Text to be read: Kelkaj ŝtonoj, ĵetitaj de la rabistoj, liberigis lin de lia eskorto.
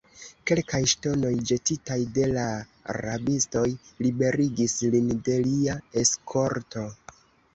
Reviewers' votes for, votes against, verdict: 2, 0, accepted